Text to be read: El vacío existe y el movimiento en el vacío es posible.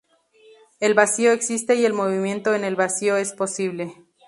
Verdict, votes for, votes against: accepted, 2, 0